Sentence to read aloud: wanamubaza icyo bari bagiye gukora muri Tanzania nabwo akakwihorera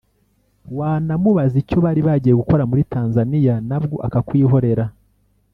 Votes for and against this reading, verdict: 1, 2, rejected